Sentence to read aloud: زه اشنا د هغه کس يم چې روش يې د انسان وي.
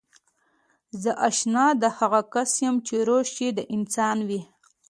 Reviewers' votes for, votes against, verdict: 2, 1, accepted